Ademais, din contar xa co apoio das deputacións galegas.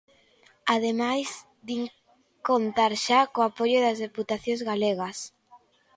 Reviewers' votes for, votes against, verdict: 2, 0, accepted